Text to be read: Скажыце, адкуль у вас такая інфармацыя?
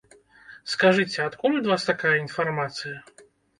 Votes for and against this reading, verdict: 1, 2, rejected